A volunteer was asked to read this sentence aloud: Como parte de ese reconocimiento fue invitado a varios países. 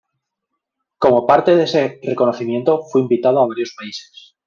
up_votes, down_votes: 1, 2